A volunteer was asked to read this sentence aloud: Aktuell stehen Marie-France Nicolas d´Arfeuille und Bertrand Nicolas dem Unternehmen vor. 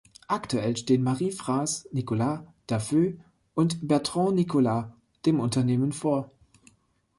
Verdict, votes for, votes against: rejected, 0, 2